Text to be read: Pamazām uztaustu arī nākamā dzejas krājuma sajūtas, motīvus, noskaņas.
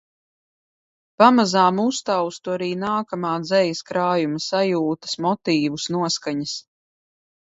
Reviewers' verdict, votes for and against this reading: accepted, 2, 0